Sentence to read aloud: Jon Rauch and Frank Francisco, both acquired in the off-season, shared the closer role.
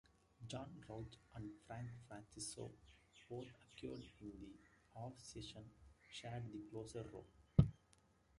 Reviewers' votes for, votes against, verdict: 0, 2, rejected